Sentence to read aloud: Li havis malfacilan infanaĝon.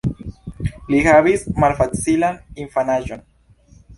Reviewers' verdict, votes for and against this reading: accepted, 2, 0